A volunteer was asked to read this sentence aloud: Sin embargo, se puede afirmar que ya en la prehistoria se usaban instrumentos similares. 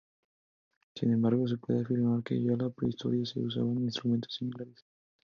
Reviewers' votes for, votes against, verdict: 4, 0, accepted